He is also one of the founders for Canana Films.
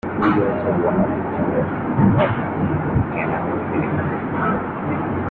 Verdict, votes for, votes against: rejected, 0, 2